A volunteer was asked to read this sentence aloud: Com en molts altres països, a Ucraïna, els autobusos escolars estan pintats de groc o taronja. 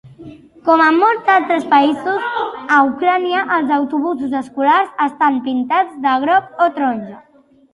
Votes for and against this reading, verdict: 1, 2, rejected